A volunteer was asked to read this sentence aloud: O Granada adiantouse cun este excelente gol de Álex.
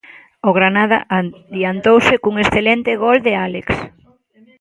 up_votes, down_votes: 0, 2